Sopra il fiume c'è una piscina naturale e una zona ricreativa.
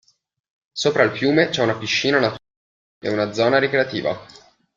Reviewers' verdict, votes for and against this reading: rejected, 0, 2